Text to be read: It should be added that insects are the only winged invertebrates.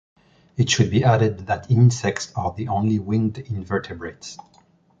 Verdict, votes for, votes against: accepted, 2, 0